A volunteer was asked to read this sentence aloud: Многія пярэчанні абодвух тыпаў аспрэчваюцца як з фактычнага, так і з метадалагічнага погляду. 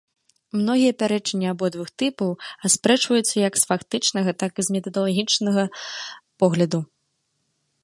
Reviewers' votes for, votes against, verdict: 2, 1, accepted